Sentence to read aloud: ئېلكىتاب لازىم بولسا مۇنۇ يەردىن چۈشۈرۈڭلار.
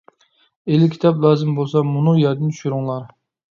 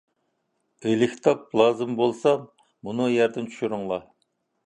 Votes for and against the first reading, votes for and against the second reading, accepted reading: 2, 0, 0, 2, first